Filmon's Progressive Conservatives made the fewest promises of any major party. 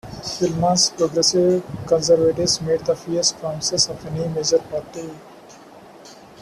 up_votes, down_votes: 2, 1